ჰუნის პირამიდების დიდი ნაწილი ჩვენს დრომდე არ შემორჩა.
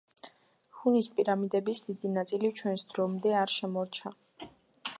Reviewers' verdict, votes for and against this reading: rejected, 1, 2